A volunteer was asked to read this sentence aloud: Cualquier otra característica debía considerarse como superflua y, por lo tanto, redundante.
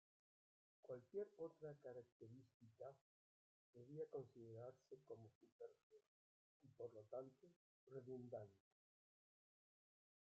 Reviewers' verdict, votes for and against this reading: rejected, 0, 2